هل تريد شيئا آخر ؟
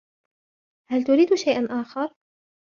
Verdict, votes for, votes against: rejected, 0, 2